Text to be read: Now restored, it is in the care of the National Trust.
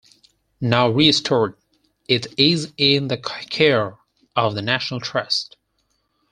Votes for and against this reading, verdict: 4, 2, accepted